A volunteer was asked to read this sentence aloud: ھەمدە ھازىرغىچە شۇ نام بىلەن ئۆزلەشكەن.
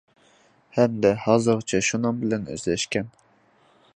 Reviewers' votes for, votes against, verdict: 2, 1, accepted